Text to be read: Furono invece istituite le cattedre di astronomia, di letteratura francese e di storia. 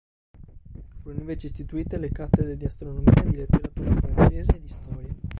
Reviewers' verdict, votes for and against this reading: rejected, 1, 3